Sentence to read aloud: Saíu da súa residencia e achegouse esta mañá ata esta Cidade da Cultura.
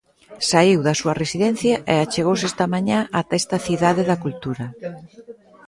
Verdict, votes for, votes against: accepted, 2, 0